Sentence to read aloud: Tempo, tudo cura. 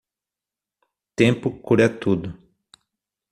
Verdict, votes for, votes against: rejected, 0, 6